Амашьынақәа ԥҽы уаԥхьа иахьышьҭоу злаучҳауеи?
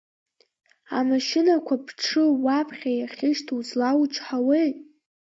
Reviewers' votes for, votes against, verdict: 0, 2, rejected